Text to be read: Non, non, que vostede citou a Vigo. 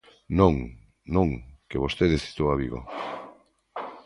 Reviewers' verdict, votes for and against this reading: accepted, 2, 0